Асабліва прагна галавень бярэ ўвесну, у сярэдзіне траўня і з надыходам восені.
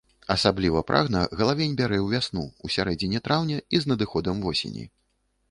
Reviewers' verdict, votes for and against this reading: rejected, 1, 3